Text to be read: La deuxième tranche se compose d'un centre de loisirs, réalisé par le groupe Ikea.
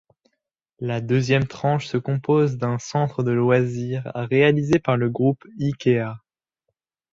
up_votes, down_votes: 2, 0